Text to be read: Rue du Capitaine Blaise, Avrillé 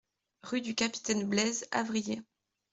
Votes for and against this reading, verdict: 2, 0, accepted